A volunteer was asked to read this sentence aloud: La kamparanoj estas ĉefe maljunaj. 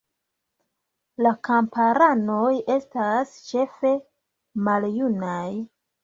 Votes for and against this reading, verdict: 1, 2, rejected